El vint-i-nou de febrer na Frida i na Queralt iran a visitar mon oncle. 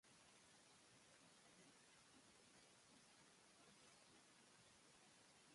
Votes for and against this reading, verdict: 0, 2, rejected